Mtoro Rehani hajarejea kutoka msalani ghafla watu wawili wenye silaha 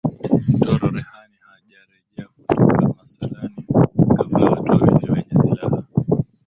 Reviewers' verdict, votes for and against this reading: accepted, 3, 0